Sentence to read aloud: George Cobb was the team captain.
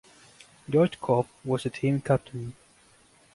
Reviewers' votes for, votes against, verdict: 2, 0, accepted